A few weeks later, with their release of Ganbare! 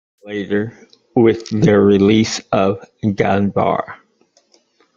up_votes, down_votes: 0, 2